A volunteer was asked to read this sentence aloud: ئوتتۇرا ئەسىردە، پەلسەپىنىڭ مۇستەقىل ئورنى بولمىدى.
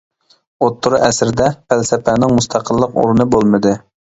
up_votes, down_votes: 0, 2